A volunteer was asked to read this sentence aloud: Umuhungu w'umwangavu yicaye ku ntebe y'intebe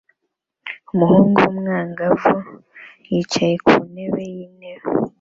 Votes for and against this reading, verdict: 2, 1, accepted